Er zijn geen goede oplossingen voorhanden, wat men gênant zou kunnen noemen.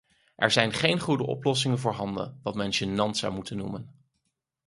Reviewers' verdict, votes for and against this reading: rejected, 2, 4